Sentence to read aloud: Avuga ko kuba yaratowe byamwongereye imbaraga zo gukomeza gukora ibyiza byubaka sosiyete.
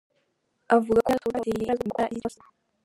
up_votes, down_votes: 0, 2